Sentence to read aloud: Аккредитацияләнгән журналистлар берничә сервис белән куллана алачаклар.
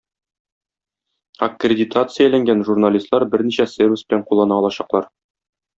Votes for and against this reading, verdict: 2, 0, accepted